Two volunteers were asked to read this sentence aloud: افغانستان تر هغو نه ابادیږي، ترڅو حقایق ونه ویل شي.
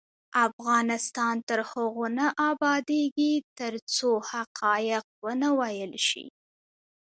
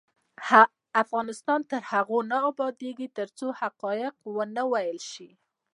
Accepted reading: first